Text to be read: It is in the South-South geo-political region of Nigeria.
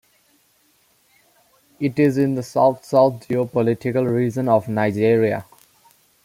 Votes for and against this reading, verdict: 2, 0, accepted